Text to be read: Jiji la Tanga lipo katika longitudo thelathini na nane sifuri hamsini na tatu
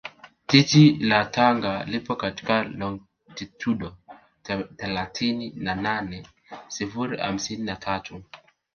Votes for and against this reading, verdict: 2, 1, accepted